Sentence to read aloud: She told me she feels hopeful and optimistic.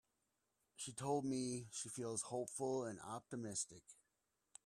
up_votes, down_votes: 2, 0